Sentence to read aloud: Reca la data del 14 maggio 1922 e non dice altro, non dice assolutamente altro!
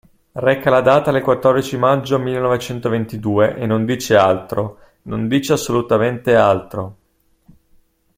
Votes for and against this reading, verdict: 0, 2, rejected